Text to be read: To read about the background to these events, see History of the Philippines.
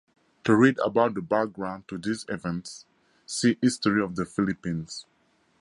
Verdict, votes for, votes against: accepted, 2, 0